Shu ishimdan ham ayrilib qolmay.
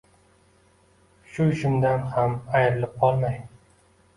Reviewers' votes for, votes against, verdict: 2, 0, accepted